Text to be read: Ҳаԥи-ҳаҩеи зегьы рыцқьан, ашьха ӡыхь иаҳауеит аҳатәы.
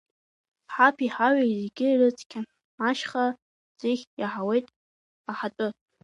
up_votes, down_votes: 1, 2